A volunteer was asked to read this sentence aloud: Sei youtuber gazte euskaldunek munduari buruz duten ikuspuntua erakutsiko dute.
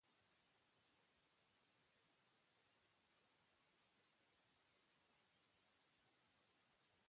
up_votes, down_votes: 0, 2